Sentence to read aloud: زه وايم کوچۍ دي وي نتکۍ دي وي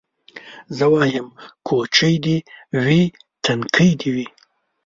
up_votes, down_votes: 1, 2